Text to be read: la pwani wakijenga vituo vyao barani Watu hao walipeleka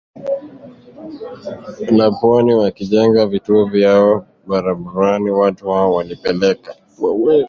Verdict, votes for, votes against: rejected, 0, 2